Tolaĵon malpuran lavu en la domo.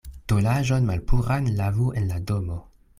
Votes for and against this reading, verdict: 2, 0, accepted